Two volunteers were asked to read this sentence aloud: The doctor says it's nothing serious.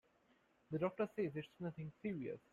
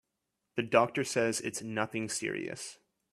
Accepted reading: second